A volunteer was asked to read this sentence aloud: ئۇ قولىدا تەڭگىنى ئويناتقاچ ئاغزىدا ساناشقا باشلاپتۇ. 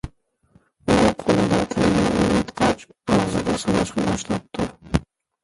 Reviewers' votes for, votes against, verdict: 0, 2, rejected